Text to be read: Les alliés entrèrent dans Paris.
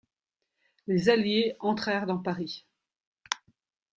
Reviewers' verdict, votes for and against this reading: rejected, 1, 2